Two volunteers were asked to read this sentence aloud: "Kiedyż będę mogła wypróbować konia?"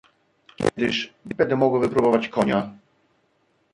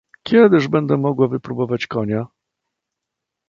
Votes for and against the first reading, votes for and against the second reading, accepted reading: 1, 2, 2, 0, second